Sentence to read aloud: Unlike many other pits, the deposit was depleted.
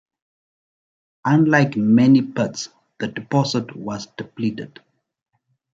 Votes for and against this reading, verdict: 0, 2, rejected